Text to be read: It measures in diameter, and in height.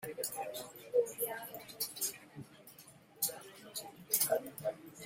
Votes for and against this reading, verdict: 0, 2, rejected